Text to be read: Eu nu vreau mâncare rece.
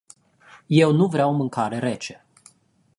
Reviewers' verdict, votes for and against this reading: rejected, 0, 2